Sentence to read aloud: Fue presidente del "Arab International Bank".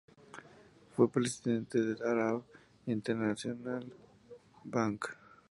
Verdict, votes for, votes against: accepted, 2, 0